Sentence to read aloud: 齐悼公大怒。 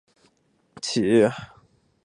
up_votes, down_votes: 0, 3